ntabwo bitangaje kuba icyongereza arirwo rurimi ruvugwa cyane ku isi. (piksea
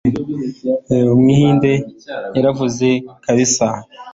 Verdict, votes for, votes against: rejected, 0, 2